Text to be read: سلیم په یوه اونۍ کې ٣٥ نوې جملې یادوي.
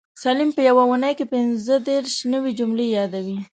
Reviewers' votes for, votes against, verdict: 0, 2, rejected